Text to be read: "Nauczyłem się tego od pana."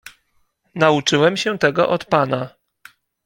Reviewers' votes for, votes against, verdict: 2, 0, accepted